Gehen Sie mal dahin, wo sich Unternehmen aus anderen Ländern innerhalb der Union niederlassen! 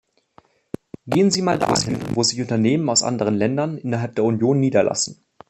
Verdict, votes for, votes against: rejected, 0, 2